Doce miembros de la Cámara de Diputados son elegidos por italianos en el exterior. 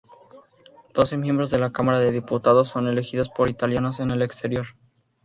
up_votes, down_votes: 2, 0